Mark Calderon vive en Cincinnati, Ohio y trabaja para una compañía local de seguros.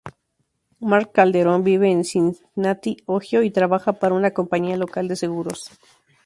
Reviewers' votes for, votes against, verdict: 4, 2, accepted